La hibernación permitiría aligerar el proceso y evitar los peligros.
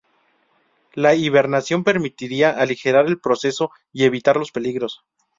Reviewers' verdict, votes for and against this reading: rejected, 0, 2